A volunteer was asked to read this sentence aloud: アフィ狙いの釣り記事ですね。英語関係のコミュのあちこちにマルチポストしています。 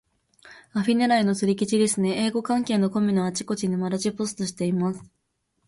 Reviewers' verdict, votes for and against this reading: accepted, 4, 0